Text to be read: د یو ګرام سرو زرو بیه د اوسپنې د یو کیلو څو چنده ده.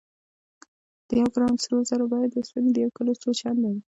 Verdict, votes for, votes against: accepted, 2, 0